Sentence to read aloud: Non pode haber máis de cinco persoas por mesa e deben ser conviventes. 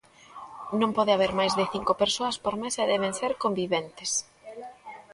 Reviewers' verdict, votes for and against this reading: rejected, 1, 2